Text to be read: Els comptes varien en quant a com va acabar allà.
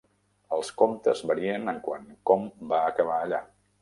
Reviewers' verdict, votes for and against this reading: rejected, 0, 2